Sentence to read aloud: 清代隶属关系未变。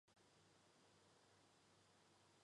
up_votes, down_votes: 1, 2